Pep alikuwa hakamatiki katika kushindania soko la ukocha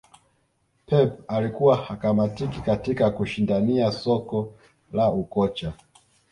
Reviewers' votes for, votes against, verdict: 0, 2, rejected